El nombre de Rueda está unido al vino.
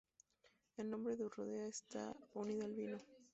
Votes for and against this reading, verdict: 2, 0, accepted